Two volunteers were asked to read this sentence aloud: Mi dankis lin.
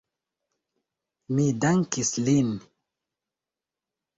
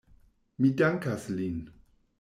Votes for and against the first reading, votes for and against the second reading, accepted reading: 2, 0, 1, 2, first